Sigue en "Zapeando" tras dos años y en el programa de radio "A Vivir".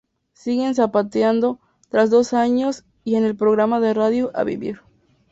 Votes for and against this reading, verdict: 2, 2, rejected